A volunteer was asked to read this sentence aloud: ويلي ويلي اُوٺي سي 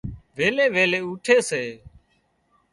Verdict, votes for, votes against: rejected, 0, 2